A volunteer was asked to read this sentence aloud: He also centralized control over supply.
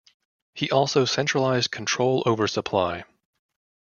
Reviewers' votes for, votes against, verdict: 2, 0, accepted